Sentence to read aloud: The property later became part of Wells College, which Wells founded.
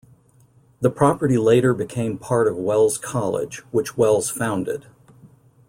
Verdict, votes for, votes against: accepted, 2, 0